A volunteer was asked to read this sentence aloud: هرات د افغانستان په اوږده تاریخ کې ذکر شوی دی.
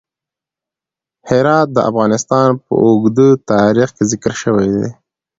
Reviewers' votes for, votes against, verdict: 2, 0, accepted